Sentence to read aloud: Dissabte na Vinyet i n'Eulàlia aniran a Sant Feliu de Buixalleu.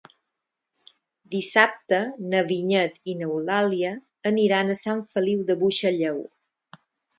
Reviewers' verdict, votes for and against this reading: accepted, 4, 0